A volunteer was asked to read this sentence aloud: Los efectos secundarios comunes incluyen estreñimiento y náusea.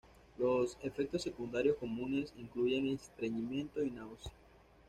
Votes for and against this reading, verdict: 2, 0, accepted